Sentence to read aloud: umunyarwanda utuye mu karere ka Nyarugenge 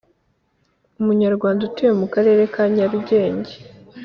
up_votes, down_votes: 2, 0